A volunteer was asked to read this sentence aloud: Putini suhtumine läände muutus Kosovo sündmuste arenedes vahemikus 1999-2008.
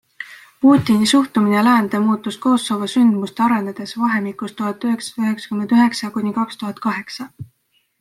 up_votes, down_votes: 0, 2